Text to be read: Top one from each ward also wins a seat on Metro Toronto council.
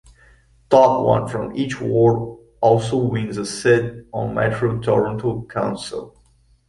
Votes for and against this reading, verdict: 0, 2, rejected